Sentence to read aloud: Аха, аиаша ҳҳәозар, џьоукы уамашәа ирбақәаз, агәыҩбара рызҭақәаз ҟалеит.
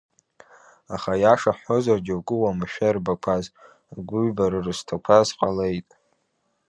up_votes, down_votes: 2, 0